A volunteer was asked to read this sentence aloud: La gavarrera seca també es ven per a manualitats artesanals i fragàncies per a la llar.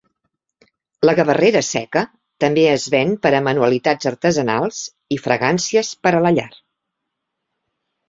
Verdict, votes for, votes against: accepted, 2, 0